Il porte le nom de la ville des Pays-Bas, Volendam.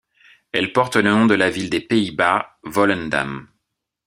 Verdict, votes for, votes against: rejected, 0, 2